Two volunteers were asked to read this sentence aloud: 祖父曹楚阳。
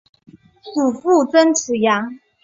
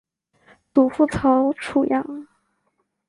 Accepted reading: second